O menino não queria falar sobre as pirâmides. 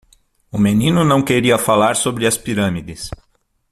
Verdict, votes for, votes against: accepted, 6, 0